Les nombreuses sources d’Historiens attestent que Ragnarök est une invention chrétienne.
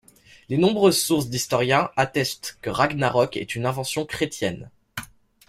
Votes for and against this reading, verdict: 2, 0, accepted